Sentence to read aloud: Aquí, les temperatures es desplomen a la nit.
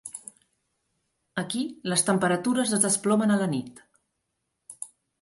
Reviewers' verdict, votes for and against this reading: accepted, 3, 0